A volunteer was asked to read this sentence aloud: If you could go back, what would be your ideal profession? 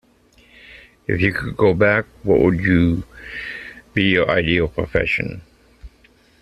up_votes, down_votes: 0, 2